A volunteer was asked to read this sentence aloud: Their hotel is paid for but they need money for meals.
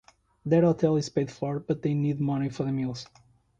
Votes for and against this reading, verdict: 1, 2, rejected